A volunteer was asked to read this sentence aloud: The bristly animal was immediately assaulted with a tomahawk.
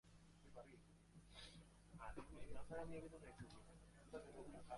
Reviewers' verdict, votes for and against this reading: rejected, 0, 2